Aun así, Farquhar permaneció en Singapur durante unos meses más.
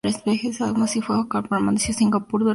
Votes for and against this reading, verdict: 0, 2, rejected